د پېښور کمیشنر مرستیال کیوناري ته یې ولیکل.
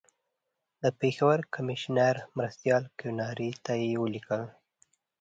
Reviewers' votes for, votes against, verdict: 2, 0, accepted